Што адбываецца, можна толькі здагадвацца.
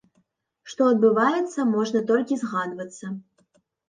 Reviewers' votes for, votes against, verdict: 0, 2, rejected